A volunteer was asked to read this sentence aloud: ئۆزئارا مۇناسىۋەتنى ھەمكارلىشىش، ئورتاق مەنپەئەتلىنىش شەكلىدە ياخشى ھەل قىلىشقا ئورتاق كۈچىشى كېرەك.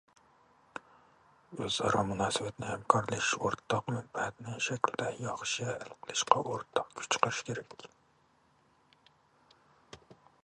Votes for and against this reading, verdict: 0, 2, rejected